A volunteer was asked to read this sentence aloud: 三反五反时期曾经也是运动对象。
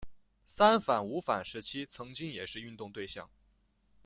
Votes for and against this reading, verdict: 2, 0, accepted